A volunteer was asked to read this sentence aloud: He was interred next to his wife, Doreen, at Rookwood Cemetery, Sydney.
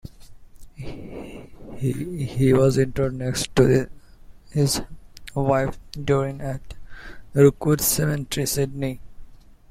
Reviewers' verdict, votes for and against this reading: accepted, 2, 1